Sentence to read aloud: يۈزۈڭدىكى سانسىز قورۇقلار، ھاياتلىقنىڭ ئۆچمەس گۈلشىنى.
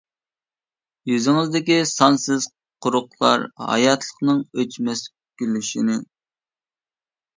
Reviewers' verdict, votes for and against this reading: rejected, 0, 2